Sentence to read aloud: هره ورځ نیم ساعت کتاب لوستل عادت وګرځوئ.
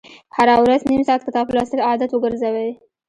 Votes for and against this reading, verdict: 2, 1, accepted